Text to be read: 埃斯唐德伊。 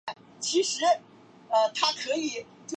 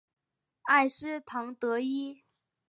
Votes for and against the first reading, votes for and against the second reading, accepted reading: 2, 3, 3, 0, second